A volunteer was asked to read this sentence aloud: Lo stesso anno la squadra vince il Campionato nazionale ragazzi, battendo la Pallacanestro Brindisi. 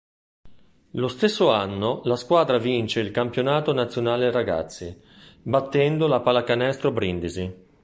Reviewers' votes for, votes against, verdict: 3, 0, accepted